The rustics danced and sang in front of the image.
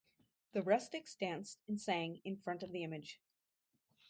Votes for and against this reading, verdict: 0, 2, rejected